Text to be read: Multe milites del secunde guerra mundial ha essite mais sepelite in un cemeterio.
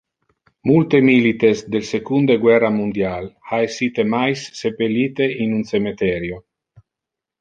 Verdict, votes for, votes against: accepted, 2, 0